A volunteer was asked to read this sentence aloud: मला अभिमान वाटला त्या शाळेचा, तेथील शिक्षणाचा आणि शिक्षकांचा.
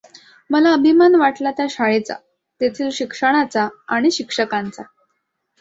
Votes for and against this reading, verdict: 2, 0, accepted